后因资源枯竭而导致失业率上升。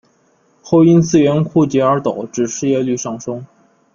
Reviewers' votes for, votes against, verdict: 2, 0, accepted